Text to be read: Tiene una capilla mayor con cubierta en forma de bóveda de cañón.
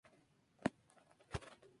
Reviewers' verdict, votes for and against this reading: rejected, 0, 4